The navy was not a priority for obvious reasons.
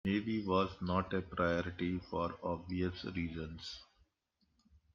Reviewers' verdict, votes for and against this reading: accepted, 2, 1